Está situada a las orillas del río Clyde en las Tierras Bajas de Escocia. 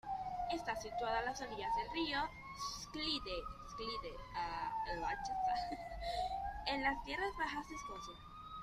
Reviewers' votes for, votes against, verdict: 0, 2, rejected